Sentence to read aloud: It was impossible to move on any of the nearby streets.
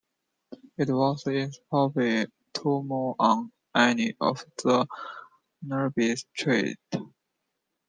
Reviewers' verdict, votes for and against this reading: rejected, 0, 2